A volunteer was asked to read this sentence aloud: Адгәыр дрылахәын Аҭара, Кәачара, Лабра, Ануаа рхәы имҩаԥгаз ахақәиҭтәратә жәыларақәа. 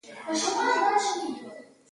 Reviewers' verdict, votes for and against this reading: rejected, 0, 2